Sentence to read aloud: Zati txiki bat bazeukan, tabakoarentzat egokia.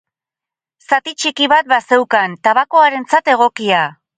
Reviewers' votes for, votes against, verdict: 0, 2, rejected